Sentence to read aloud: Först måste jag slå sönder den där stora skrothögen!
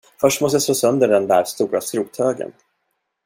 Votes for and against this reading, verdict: 1, 2, rejected